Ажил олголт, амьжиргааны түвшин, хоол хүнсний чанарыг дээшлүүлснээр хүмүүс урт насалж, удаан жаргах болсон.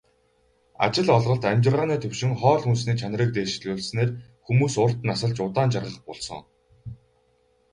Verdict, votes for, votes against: accepted, 2, 0